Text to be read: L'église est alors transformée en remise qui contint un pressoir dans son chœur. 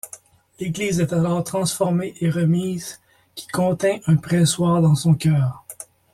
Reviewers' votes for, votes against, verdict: 1, 2, rejected